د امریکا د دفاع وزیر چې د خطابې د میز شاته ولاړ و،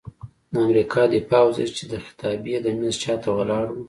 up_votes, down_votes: 2, 0